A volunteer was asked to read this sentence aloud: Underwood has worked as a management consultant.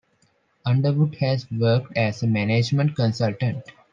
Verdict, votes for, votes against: accepted, 3, 0